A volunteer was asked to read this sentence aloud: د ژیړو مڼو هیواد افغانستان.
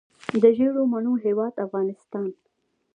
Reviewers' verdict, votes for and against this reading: rejected, 1, 2